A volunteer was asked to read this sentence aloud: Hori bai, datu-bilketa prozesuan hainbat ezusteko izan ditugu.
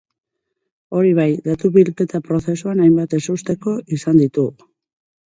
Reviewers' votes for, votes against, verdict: 2, 0, accepted